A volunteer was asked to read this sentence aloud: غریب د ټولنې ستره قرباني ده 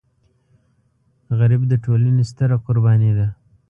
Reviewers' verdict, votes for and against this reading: accepted, 2, 0